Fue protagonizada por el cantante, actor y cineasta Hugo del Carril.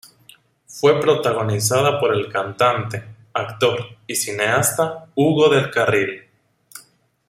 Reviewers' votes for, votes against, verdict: 2, 0, accepted